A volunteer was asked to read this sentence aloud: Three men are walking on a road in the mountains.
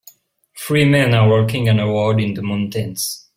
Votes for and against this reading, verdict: 1, 2, rejected